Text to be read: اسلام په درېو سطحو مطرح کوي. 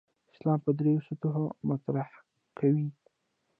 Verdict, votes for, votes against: accepted, 2, 1